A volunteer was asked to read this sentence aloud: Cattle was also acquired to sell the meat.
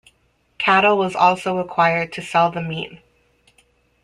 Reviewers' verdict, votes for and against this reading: accepted, 2, 0